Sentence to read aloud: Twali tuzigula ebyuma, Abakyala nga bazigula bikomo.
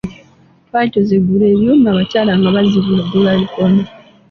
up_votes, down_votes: 1, 2